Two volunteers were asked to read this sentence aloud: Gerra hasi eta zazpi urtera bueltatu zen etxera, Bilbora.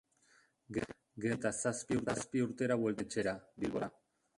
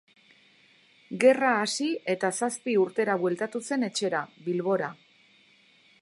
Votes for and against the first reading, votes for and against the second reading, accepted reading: 0, 2, 2, 0, second